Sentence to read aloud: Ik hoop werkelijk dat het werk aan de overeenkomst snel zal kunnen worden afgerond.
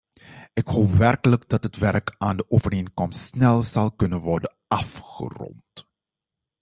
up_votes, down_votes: 2, 0